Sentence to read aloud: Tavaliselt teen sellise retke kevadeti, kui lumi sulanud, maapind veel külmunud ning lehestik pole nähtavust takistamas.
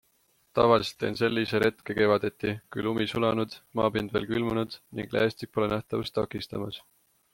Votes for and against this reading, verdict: 2, 0, accepted